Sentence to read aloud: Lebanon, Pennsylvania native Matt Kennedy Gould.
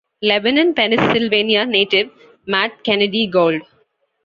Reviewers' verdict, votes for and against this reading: accepted, 2, 0